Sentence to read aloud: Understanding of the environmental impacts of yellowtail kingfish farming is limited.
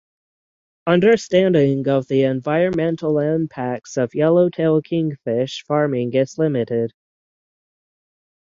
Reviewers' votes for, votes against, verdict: 3, 0, accepted